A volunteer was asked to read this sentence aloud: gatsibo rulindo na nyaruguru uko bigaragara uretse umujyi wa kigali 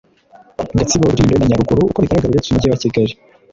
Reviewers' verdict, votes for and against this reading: rejected, 1, 2